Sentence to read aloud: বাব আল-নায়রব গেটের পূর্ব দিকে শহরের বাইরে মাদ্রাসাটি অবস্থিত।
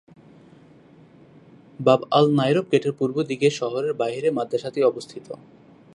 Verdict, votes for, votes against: accepted, 2, 0